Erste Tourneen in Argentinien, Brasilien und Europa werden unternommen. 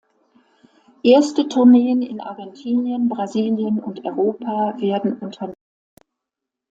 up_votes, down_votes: 0, 2